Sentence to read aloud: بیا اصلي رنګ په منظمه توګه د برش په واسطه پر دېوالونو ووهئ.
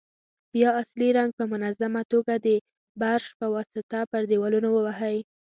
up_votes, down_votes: 2, 0